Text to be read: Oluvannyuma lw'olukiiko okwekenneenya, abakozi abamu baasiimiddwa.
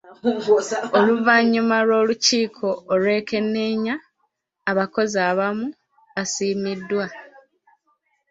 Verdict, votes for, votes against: rejected, 1, 2